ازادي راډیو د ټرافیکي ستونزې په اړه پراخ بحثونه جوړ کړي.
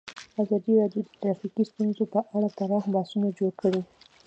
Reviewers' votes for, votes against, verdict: 2, 0, accepted